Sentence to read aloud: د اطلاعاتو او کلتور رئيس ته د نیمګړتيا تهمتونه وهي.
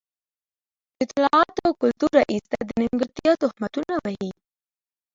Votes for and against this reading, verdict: 2, 1, accepted